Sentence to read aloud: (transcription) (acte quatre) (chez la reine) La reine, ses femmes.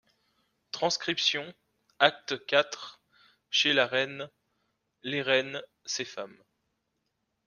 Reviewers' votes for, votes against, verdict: 1, 2, rejected